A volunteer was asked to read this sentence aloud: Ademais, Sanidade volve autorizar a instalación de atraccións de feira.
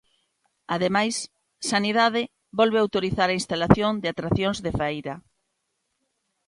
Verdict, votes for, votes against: accepted, 2, 0